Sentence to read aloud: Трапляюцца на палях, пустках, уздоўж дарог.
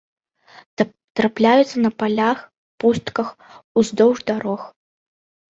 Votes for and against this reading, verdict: 1, 2, rejected